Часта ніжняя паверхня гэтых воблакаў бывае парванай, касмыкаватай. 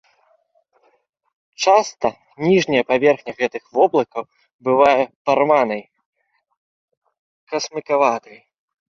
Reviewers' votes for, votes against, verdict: 1, 2, rejected